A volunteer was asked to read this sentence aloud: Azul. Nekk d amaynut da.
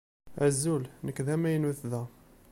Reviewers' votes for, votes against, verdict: 3, 0, accepted